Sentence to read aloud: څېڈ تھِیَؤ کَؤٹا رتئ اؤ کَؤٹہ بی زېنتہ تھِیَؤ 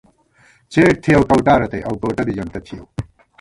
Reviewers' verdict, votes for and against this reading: rejected, 1, 2